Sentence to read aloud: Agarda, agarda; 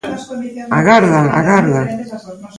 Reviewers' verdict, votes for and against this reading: rejected, 0, 2